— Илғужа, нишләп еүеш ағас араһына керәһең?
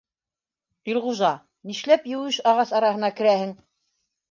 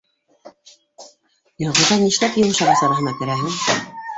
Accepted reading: first